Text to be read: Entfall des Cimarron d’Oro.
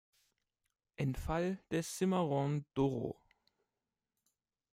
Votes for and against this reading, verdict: 2, 0, accepted